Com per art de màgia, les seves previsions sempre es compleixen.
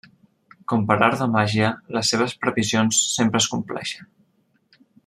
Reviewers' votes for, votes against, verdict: 1, 2, rejected